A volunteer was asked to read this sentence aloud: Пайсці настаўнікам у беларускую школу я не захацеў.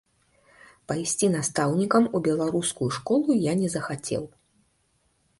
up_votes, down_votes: 2, 0